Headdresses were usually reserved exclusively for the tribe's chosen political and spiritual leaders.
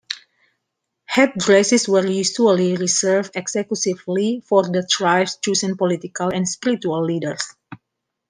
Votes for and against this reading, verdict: 1, 2, rejected